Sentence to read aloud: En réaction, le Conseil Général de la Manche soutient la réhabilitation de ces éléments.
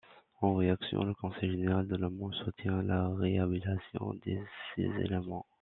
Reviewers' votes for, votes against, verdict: 0, 2, rejected